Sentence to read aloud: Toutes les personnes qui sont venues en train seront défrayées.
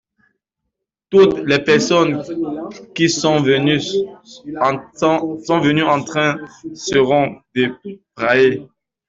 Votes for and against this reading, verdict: 1, 2, rejected